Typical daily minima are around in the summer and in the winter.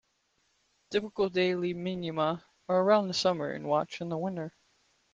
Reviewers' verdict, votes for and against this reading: rejected, 0, 2